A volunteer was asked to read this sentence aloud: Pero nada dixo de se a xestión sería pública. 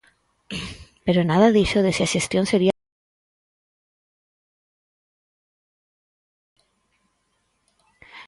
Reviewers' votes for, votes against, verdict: 0, 4, rejected